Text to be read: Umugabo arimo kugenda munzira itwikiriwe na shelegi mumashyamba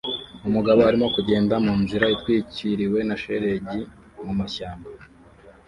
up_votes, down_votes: 2, 0